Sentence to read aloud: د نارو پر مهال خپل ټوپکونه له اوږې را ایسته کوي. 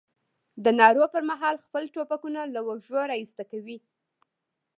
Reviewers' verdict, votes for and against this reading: accepted, 2, 0